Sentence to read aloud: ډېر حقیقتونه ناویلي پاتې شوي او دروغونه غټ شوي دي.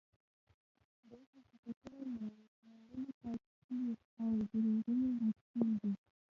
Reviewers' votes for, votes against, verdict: 1, 2, rejected